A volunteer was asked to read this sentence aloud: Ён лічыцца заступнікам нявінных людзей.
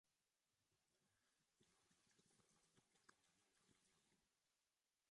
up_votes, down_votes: 0, 2